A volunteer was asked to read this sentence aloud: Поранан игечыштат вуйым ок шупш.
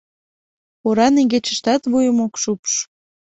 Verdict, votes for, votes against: rejected, 1, 2